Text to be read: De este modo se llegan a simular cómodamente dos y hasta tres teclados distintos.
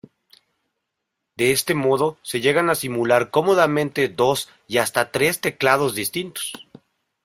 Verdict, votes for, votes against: accepted, 2, 0